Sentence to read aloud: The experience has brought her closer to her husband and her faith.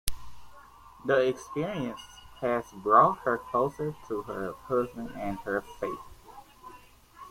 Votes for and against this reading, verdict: 2, 0, accepted